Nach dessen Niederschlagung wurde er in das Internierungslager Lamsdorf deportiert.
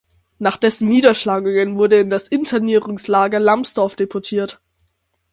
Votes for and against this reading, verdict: 0, 6, rejected